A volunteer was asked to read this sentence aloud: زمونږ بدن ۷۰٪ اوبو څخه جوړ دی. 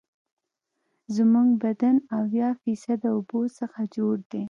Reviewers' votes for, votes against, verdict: 0, 2, rejected